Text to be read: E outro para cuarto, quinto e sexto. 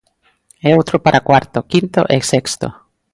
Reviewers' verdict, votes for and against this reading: accepted, 2, 0